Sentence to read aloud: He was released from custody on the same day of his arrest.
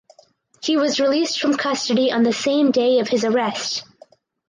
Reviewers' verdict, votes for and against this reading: accepted, 4, 0